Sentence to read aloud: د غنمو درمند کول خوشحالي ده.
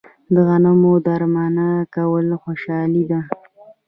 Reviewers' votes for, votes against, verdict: 2, 1, accepted